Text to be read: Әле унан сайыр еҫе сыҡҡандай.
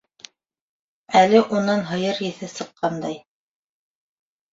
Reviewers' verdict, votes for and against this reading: rejected, 0, 3